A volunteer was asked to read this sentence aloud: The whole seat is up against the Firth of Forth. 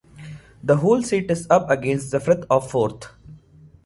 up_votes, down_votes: 2, 0